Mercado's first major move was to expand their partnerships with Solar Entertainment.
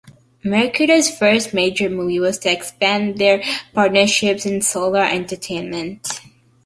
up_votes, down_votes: 0, 2